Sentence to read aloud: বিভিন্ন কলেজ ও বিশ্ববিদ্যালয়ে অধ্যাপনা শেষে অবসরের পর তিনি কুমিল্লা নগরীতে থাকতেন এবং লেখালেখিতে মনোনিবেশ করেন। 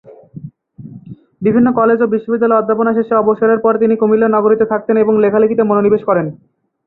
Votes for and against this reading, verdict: 4, 1, accepted